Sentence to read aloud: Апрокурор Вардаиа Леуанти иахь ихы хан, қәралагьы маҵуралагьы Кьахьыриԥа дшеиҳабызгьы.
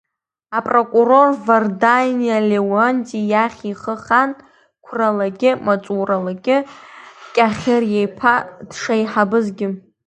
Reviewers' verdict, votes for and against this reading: rejected, 0, 2